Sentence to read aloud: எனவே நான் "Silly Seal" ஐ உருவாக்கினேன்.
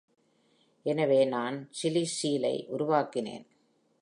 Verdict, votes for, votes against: accepted, 2, 0